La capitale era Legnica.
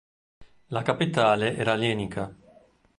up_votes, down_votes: 1, 2